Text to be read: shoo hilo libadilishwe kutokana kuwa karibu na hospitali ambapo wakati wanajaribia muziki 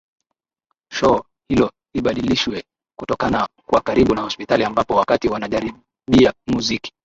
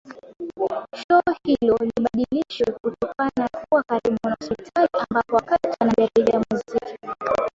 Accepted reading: first